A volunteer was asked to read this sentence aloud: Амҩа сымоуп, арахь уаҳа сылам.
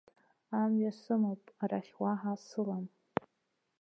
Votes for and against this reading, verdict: 1, 2, rejected